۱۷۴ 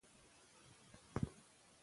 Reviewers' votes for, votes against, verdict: 0, 2, rejected